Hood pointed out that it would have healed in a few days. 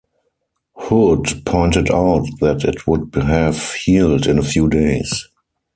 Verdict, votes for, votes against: rejected, 0, 4